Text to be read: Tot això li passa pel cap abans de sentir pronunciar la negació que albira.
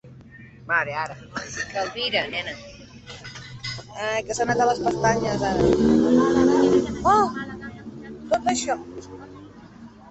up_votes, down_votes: 0, 2